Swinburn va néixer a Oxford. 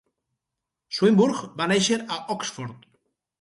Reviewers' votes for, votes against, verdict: 2, 2, rejected